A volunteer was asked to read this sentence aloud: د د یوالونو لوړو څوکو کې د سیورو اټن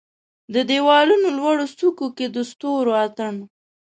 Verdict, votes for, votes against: rejected, 1, 2